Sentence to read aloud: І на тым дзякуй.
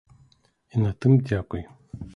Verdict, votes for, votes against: accepted, 2, 0